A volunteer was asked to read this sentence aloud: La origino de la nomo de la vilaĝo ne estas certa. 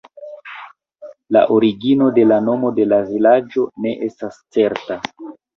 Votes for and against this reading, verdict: 0, 2, rejected